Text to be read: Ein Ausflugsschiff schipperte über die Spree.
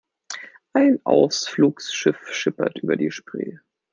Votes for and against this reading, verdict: 0, 2, rejected